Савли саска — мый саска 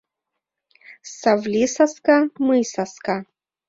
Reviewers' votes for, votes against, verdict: 2, 1, accepted